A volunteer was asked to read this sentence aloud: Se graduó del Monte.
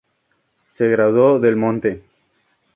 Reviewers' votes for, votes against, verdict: 2, 0, accepted